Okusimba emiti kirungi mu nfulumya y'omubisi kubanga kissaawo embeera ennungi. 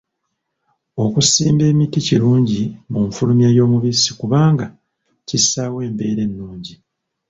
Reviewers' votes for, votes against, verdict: 1, 2, rejected